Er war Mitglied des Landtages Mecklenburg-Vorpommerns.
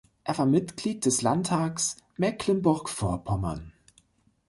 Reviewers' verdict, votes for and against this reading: rejected, 1, 3